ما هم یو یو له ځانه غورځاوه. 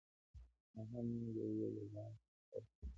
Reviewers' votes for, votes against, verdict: 0, 2, rejected